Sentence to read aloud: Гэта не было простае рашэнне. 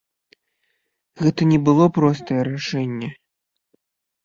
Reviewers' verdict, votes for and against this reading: rejected, 0, 2